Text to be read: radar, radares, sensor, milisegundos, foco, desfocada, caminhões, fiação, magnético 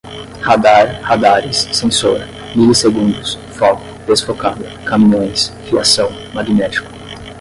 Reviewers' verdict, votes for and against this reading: rejected, 5, 5